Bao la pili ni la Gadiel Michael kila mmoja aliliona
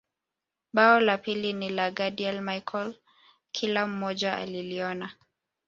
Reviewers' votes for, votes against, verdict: 2, 0, accepted